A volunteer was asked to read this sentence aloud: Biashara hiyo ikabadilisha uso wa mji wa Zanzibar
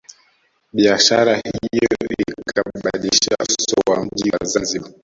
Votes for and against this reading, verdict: 0, 2, rejected